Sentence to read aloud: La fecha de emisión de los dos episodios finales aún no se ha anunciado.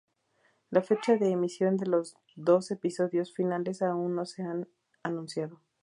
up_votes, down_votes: 2, 0